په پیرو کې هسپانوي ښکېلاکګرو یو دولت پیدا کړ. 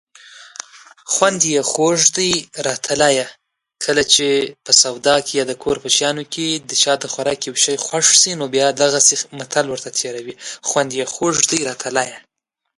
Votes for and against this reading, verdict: 0, 2, rejected